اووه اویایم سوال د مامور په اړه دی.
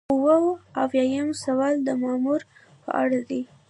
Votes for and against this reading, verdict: 1, 2, rejected